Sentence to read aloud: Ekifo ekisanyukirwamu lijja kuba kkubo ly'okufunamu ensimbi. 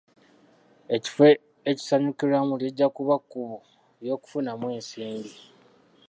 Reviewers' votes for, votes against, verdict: 2, 1, accepted